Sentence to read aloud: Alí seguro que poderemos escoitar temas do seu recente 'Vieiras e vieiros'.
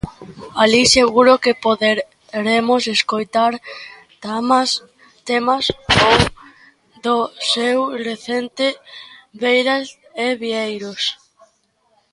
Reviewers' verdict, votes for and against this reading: rejected, 0, 2